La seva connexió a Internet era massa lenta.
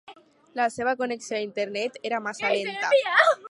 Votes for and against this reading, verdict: 0, 2, rejected